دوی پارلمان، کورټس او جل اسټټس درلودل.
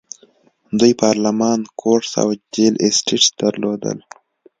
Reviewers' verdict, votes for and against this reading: accepted, 2, 0